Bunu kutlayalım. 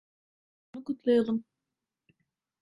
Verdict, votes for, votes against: rejected, 0, 2